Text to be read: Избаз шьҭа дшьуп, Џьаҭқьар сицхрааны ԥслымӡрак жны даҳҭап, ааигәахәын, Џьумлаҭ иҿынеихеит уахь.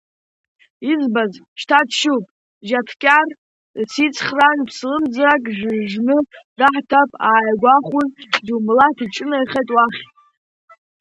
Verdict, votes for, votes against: rejected, 0, 2